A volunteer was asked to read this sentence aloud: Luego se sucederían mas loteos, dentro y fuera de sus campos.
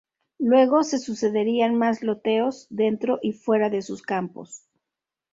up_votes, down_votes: 2, 0